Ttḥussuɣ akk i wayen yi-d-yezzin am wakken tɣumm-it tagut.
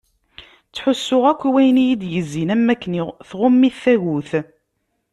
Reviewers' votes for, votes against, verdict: 1, 2, rejected